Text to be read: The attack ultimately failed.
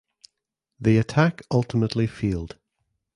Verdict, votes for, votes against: rejected, 1, 2